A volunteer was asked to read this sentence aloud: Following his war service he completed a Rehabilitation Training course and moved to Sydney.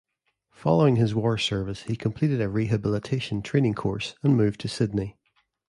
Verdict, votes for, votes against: accepted, 2, 0